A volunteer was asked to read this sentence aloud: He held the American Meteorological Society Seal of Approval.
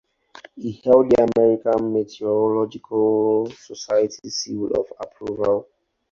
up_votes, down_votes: 2, 0